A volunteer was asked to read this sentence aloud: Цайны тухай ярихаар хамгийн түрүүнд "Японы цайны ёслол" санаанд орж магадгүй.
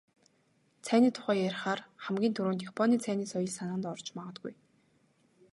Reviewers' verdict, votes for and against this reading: rejected, 2, 2